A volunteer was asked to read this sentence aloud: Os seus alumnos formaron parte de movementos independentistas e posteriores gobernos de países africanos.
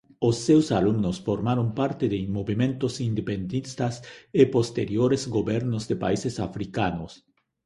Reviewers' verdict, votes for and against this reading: rejected, 0, 2